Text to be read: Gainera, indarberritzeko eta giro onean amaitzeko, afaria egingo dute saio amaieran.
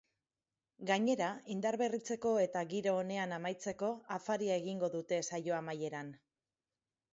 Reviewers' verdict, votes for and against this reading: accepted, 4, 0